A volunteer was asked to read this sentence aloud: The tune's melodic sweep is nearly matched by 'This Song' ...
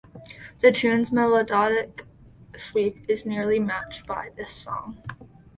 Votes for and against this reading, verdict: 0, 2, rejected